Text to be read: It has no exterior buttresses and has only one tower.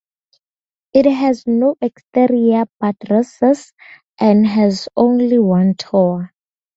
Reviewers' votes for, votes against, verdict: 0, 2, rejected